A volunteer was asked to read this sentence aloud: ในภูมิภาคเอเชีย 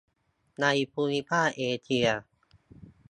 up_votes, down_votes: 2, 0